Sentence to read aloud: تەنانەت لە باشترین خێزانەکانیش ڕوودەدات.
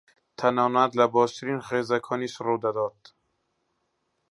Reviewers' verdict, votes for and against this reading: rejected, 0, 2